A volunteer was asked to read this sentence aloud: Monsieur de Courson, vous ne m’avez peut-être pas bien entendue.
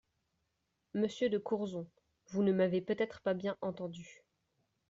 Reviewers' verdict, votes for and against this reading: rejected, 1, 2